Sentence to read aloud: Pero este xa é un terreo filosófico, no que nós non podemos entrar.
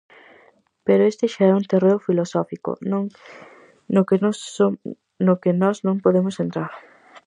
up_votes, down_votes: 0, 4